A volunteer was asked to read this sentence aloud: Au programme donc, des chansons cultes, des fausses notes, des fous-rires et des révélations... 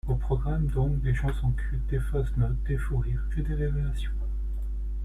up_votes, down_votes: 2, 0